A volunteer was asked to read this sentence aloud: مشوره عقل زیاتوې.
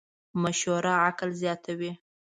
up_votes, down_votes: 2, 0